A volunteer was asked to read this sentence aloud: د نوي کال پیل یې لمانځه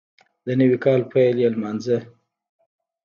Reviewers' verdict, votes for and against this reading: rejected, 1, 2